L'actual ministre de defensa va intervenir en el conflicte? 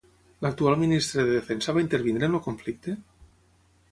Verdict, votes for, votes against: rejected, 0, 3